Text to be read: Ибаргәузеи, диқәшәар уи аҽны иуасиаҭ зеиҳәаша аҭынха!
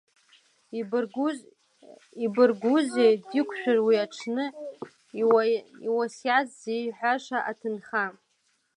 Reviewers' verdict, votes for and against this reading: rejected, 0, 2